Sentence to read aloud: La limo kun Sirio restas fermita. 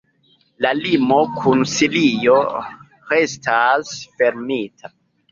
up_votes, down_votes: 2, 1